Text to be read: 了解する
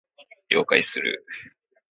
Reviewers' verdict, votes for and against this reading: accepted, 2, 0